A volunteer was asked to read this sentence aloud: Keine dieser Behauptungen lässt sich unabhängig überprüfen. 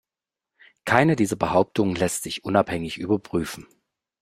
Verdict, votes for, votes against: accepted, 2, 0